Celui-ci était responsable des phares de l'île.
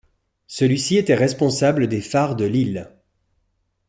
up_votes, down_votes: 2, 0